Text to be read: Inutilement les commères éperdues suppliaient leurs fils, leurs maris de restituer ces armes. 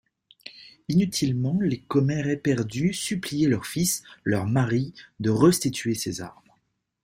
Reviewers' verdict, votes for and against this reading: rejected, 1, 2